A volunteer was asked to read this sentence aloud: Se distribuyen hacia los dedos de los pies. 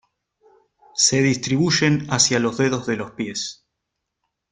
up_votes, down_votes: 0, 2